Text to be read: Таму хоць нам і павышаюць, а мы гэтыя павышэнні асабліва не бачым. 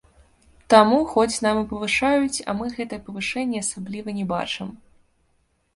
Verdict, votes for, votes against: accepted, 2, 0